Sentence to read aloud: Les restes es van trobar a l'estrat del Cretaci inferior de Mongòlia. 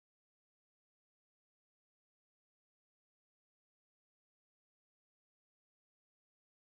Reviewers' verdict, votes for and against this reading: rejected, 0, 2